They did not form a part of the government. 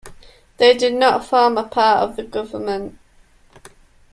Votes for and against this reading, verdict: 2, 0, accepted